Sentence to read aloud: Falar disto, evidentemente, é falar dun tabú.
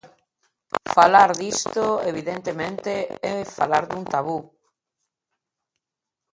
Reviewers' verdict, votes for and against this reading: rejected, 1, 2